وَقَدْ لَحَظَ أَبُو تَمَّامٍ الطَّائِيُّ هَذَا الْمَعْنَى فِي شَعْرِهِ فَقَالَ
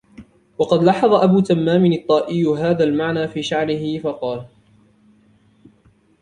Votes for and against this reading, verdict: 1, 2, rejected